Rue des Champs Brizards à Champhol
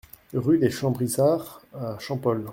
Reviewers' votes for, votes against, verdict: 0, 2, rejected